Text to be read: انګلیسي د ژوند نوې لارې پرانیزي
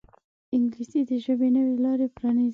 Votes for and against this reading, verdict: 2, 0, accepted